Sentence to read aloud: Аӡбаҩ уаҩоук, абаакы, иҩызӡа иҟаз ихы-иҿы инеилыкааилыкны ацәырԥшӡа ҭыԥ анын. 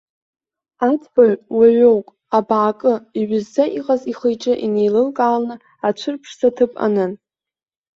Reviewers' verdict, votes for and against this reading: rejected, 0, 2